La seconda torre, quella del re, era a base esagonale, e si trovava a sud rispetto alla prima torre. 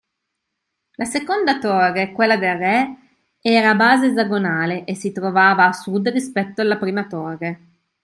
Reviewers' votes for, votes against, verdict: 2, 0, accepted